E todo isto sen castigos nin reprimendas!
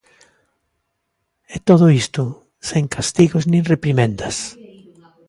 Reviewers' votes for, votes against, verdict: 1, 2, rejected